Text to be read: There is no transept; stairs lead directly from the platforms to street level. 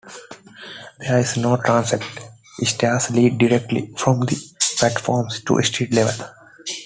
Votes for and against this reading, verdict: 2, 1, accepted